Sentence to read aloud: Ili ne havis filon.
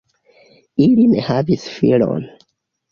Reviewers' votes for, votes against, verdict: 2, 0, accepted